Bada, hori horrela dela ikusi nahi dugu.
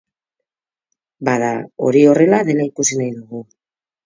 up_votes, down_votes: 2, 4